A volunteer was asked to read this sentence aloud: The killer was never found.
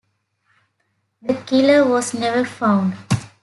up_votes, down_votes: 2, 0